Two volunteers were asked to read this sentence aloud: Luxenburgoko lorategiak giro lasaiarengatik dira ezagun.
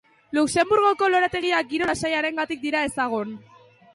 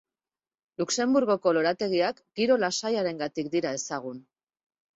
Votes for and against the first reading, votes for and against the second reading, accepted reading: 0, 2, 8, 0, second